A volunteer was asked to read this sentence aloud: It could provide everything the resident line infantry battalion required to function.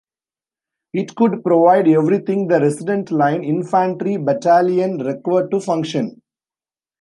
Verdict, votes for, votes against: rejected, 0, 2